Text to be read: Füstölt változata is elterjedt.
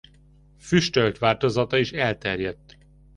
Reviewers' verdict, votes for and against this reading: accepted, 2, 0